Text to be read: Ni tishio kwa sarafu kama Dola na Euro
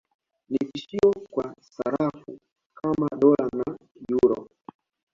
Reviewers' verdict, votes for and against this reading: accepted, 2, 0